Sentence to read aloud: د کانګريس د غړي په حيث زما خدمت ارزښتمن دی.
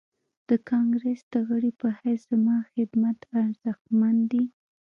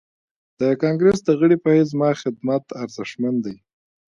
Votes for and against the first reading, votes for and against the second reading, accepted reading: 0, 2, 2, 0, second